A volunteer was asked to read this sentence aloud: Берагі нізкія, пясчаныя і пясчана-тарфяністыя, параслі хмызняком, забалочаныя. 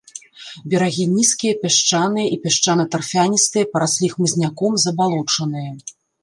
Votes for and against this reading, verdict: 1, 2, rejected